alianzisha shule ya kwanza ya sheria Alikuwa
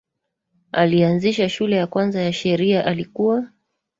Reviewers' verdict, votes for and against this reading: rejected, 1, 2